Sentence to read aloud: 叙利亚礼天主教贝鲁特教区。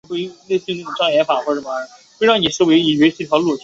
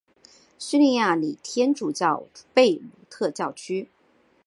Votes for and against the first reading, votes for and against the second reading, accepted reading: 2, 3, 3, 0, second